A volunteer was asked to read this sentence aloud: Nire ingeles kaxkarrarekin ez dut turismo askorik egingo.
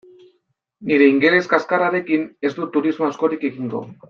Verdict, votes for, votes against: accepted, 2, 0